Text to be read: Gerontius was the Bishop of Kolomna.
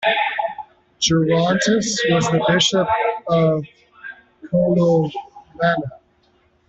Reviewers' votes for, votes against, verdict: 0, 2, rejected